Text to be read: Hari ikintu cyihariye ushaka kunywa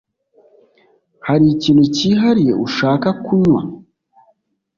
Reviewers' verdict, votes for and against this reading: accepted, 2, 0